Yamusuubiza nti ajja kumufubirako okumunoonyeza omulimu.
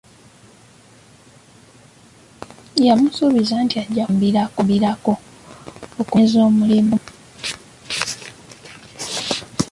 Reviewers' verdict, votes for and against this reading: rejected, 0, 2